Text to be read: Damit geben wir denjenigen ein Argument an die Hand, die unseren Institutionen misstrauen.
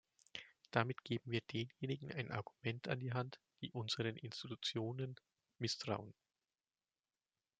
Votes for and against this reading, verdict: 2, 0, accepted